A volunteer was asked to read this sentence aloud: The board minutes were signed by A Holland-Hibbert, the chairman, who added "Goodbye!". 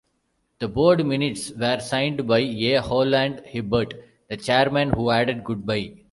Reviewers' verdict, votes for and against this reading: accepted, 2, 0